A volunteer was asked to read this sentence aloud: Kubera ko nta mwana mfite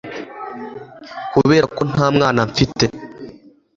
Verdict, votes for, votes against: accepted, 2, 0